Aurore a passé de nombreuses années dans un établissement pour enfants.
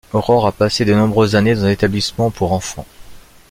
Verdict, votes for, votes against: accepted, 2, 0